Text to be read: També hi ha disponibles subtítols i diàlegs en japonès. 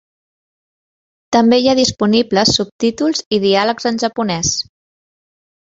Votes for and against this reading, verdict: 3, 0, accepted